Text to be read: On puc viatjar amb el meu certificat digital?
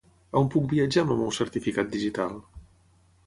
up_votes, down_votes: 0, 3